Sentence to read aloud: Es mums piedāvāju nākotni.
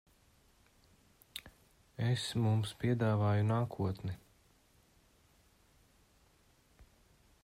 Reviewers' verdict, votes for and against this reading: accepted, 2, 1